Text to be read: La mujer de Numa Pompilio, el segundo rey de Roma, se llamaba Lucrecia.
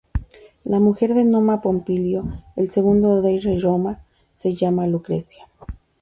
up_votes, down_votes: 0, 2